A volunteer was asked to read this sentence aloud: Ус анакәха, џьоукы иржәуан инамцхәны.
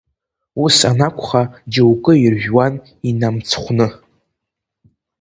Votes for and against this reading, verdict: 1, 2, rejected